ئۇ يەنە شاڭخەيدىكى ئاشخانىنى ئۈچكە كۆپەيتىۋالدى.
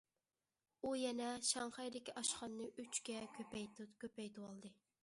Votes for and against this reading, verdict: 0, 2, rejected